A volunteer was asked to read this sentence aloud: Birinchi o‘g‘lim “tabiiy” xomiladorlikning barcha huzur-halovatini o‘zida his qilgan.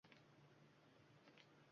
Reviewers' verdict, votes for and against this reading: rejected, 1, 2